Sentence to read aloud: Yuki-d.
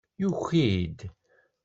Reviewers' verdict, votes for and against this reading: accepted, 2, 0